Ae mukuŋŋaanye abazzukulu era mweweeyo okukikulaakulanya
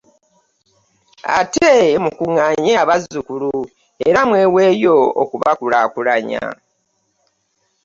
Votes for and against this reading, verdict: 1, 2, rejected